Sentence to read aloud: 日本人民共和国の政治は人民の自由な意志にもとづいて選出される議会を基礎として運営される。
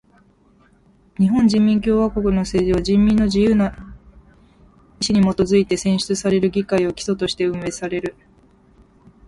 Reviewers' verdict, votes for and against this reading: accepted, 2, 0